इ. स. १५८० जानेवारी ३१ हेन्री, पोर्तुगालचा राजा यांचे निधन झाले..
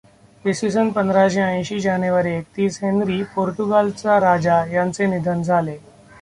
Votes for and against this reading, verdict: 0, 2, rejected